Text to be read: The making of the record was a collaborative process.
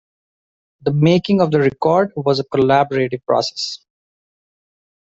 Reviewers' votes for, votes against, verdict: 0, 2, rejected